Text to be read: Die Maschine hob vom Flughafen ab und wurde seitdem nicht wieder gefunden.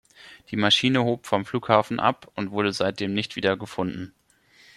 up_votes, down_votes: 3, 0